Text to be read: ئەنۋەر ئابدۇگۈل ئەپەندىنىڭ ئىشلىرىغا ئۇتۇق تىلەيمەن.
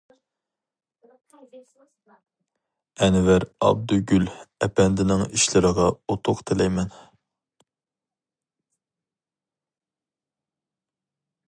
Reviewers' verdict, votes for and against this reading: rejected, 2, 2